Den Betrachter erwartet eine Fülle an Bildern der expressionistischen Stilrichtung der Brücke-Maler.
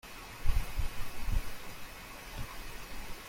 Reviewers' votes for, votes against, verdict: 0, 2, rejected